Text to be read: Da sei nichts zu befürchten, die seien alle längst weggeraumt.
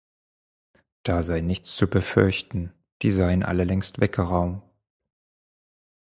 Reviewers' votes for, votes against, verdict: 2, 4, rejected